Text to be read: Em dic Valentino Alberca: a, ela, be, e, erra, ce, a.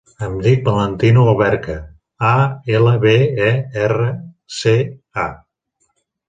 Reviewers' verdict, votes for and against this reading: accepted, 6, 0